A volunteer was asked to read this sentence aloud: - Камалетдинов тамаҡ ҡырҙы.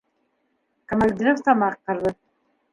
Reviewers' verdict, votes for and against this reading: rejected, 1, 2